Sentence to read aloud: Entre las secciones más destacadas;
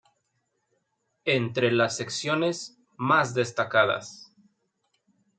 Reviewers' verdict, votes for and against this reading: accepted, 2, 0